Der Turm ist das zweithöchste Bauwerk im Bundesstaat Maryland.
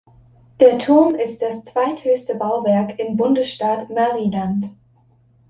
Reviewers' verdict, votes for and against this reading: accepted, 3, 0